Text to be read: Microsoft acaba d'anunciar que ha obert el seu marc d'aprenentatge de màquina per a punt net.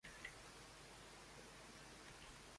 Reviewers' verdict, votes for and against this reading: rejected, 0, 2